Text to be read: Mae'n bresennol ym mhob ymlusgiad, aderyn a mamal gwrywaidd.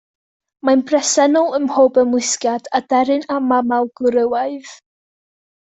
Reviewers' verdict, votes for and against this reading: accepted, 3, 0